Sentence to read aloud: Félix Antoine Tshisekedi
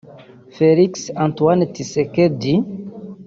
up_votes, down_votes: 0, 2